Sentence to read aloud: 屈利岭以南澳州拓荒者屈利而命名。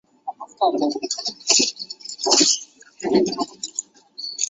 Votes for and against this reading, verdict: 0, 2, rejected